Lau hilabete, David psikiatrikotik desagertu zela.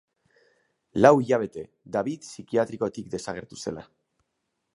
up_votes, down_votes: 6, 0